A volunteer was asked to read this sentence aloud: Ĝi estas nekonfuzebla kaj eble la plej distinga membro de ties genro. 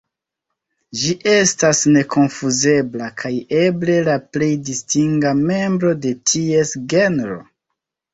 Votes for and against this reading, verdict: 1, 3, rejected